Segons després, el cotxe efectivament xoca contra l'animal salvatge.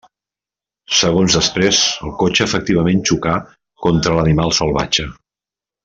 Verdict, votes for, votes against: rejected, 0, 2